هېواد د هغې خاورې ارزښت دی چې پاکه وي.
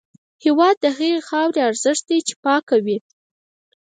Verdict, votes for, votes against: rejected, 2, 4